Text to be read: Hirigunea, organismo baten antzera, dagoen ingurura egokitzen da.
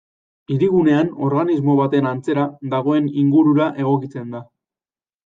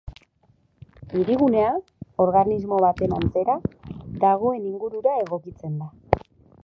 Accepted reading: second